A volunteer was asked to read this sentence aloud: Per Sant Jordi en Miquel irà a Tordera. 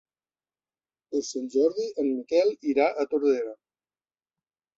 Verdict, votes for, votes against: rejected, 1, 2